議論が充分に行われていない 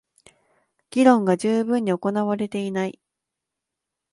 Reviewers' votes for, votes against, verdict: 2, 0, accepted